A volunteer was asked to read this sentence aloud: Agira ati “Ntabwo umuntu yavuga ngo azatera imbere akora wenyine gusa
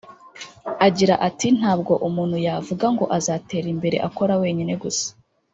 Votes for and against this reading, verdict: 2, 0, accepted